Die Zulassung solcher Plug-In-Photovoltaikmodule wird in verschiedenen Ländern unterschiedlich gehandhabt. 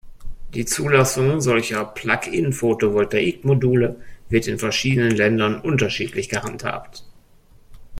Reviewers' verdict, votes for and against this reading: accepted, 2, 0